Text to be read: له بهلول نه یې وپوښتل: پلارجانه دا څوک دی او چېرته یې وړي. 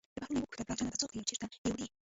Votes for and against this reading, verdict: 0, 2, rejected